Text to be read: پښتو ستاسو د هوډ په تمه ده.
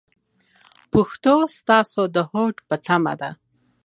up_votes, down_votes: 2, 0